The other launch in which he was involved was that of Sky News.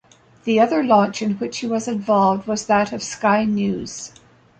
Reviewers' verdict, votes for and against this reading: accepted, 2, 0